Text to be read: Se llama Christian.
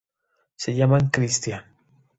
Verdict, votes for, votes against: accepted, 2, 0